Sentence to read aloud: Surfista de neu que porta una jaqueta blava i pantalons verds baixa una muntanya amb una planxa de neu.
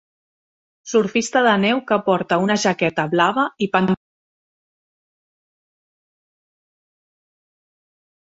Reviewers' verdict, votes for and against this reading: rejected, 0, 2